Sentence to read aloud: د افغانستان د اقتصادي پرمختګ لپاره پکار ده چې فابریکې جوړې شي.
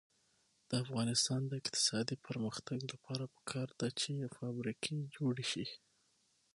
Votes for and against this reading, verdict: 6, 0, accepted